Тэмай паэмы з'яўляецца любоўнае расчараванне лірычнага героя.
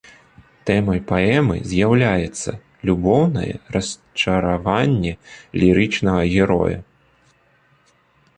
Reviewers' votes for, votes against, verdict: 1, 2, rejected